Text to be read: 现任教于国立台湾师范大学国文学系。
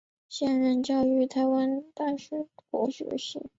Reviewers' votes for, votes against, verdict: 2, 0, accepted